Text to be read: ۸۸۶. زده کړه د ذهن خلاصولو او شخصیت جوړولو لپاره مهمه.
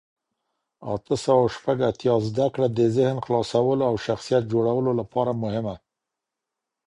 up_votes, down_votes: 0, 2